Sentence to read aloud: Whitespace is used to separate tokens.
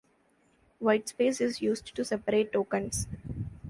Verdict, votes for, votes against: accepted, 2, 0